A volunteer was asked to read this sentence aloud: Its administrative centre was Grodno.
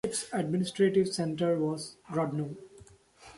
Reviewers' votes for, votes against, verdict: 2, 0, accepted